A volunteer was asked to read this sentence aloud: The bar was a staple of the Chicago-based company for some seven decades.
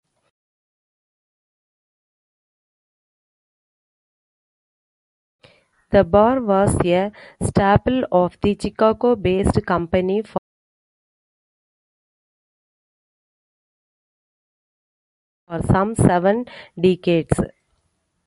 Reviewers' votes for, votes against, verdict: 0, 2, rejected